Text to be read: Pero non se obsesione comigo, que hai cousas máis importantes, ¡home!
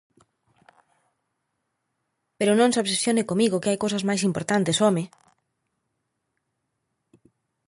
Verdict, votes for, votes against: accepted, 2, 0